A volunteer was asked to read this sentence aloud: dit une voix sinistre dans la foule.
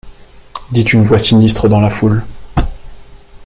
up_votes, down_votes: 2, 0